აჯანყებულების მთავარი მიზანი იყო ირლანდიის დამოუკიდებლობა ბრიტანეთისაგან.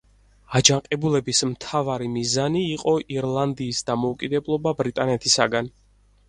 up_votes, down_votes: 4, 0